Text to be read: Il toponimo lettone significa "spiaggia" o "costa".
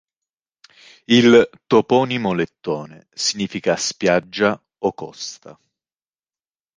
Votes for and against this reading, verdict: 1, 2, rejected